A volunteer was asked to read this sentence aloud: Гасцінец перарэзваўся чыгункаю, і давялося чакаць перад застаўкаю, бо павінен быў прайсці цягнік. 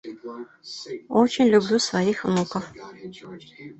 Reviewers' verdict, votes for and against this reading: rejected, 0, 2